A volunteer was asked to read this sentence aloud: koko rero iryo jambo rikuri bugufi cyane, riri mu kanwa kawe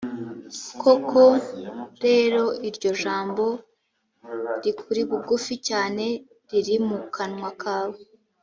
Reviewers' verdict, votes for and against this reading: accepted, 2, 0